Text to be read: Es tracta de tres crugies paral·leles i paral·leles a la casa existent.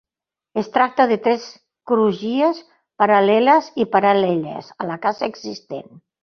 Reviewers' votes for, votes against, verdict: 1, 2, rejected